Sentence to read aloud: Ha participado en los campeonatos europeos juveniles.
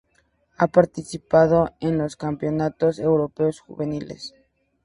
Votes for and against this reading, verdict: 4, 0, accepted